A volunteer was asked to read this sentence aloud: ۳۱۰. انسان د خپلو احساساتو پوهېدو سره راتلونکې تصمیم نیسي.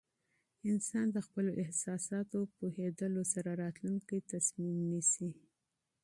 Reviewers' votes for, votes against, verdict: 0, 2, rejected